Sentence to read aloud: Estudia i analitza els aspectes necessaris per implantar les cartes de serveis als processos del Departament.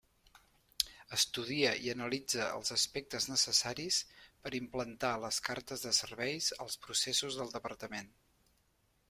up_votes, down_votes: 2, 0